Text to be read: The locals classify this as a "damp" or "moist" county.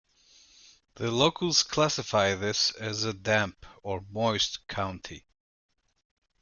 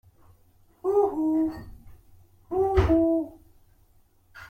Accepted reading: first